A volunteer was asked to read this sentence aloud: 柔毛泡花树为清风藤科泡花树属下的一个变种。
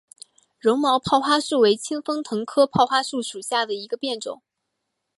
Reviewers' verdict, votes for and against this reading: accepted, 3, 1